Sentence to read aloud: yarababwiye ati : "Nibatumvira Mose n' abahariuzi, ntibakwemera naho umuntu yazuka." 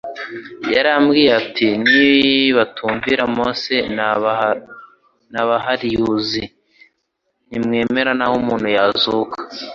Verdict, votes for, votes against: rejected, 1, 2